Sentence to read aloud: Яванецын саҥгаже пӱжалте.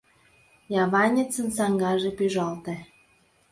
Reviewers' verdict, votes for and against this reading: accepted, 2, 0